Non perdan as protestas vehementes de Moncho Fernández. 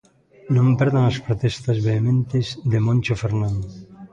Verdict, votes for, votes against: rejected, 0, 2